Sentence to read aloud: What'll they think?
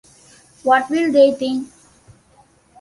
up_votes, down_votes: 0, 2